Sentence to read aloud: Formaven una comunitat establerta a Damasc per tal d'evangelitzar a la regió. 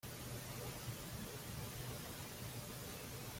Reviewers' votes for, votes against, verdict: 0, 2, rejected